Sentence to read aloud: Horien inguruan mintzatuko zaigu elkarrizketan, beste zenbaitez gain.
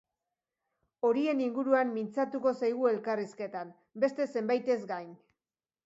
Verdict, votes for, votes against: accepted, 2, 0